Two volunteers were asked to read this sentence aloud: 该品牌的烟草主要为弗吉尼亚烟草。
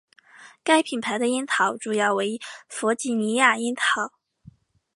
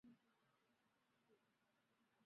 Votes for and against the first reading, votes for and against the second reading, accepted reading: 2, 0, 0, 3, first